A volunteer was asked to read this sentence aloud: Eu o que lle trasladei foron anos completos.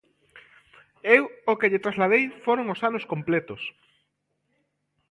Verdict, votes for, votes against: rejected, 0, 2